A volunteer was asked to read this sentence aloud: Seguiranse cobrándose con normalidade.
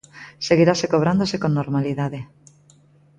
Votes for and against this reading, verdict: 0, 2, rejected